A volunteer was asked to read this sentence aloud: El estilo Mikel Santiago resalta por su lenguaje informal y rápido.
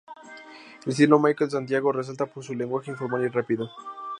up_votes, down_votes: 0, 2